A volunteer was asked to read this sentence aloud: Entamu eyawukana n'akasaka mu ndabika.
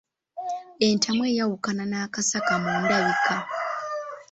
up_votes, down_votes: 2, 0